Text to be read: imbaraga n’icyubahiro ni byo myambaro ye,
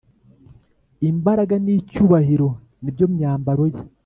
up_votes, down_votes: 3, 0